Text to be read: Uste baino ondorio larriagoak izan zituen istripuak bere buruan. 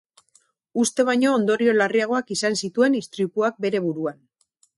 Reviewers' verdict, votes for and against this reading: rejected, 0, 2